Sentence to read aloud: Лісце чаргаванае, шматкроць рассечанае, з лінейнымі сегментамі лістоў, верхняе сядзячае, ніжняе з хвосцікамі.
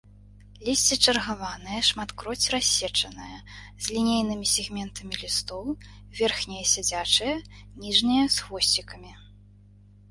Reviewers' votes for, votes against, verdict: 1, 2, rejected